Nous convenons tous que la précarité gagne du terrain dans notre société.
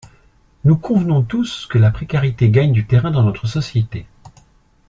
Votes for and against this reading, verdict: 2, 0, accepted